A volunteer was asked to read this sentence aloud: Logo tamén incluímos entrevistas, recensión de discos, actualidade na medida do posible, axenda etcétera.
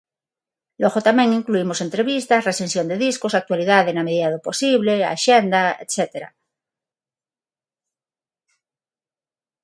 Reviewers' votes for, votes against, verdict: 6, 0, accepted